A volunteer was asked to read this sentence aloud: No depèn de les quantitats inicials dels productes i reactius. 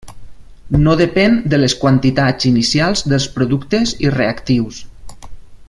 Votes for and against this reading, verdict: 2, 0, accepted